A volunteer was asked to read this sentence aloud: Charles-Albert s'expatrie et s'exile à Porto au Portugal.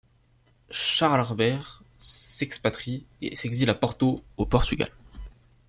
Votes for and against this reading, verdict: 2, 1, accepted